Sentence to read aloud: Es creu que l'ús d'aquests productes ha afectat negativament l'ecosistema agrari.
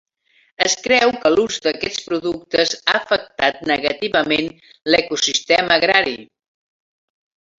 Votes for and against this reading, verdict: 0, 2, rejected